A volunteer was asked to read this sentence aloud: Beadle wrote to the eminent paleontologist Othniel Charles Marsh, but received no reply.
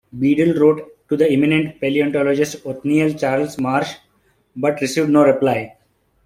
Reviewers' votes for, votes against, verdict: 2, 0, accepted